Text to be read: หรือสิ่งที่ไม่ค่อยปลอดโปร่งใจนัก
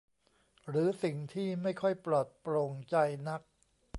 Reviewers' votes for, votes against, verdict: 2, 0, accepted